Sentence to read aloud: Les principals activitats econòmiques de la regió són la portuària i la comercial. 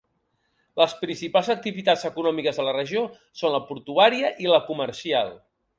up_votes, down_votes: 2, 0